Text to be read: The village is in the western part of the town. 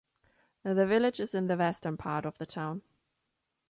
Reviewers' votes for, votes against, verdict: 2, 1, accepted